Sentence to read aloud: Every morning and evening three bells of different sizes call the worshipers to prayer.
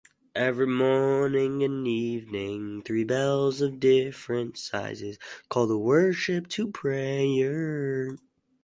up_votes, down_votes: 0, 4